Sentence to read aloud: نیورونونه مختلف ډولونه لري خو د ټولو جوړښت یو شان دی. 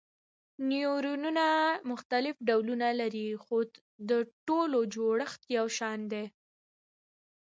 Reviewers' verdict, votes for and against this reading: accepted, 2, 0